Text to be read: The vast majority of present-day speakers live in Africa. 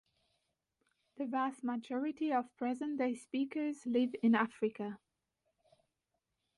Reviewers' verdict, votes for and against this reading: accepted, 2, 1